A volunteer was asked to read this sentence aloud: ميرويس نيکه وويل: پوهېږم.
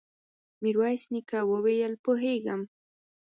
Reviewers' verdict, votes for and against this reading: accepted, 4, 0